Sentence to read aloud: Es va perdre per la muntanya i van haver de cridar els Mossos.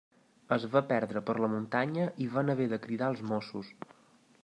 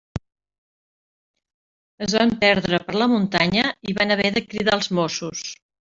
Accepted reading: first